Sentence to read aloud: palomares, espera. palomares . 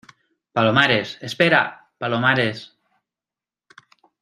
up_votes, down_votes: 2, 0